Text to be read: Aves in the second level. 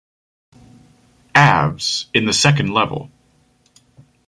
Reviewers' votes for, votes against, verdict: 2, 0, accepted